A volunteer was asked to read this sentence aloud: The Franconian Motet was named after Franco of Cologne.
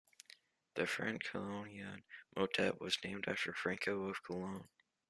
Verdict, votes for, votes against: rejected, 0, 2